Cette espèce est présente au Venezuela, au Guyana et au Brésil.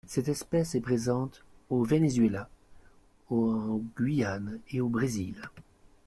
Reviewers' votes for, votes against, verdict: 2, 3, rejected